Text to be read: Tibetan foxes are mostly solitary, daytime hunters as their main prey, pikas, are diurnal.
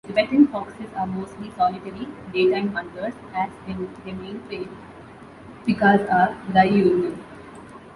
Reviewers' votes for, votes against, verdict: 0, 2, rejected